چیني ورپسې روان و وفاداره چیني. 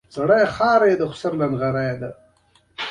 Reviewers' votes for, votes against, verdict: 0, 2, rejected